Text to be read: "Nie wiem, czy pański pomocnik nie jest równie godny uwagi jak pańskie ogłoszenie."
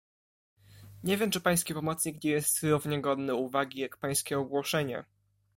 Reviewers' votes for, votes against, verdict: 2, 1, accepted